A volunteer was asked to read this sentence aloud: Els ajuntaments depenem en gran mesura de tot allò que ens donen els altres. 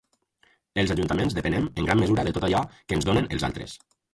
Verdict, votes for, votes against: rejected, 2, 2